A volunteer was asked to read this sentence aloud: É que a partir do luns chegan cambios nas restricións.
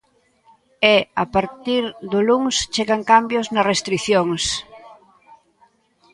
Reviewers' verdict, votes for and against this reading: rejected, 0, 2